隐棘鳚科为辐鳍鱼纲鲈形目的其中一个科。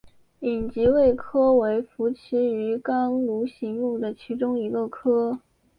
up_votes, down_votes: 3, 2